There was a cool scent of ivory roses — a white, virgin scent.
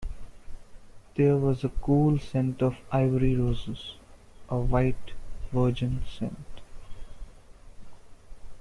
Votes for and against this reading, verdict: 2, 0, accepted